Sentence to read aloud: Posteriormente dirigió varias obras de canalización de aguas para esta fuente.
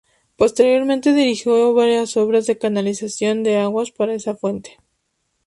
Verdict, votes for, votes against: rejected, 0, 2